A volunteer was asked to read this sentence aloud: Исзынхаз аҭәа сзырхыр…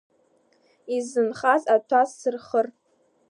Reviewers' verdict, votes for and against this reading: accepted, 2, 1